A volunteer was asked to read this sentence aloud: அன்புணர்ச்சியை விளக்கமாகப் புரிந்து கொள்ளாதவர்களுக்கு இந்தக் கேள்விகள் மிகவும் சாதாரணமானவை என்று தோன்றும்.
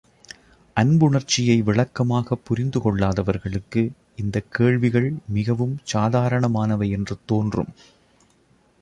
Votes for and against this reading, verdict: 2, 0, accepted